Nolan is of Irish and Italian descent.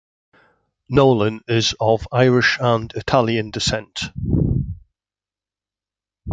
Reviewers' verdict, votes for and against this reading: accepted, 2, 0